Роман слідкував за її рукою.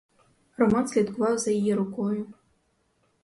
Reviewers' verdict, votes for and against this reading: rejected, 2, 2